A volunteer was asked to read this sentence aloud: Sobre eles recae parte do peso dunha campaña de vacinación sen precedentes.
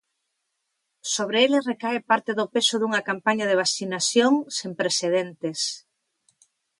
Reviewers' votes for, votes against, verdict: 2, 0, accepted